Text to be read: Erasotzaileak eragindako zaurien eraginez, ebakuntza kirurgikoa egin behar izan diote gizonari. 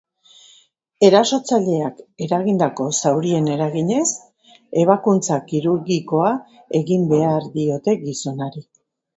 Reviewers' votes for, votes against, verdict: 0, 2, rejected